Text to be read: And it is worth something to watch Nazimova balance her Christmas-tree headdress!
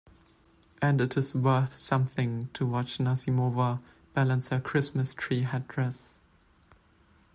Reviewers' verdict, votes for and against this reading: accepted, 2, 0